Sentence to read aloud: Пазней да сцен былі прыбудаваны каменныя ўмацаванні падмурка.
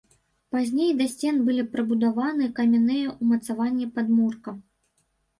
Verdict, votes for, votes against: rejected, 0, 2